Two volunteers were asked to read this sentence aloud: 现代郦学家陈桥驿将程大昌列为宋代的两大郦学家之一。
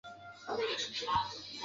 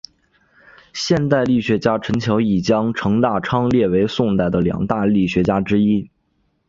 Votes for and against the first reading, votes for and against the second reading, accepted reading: 0, 3, 2, 0, second